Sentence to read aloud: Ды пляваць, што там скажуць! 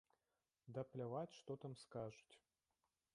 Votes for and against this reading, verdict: 0, 2, rejected